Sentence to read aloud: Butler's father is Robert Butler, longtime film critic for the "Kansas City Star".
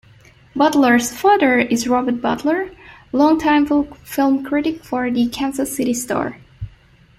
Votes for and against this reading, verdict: 0, 2, rejected